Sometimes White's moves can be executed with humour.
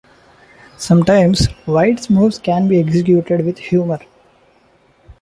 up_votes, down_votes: 1, 2